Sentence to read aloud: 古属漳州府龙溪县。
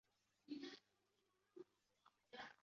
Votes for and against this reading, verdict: 1, 4, rejected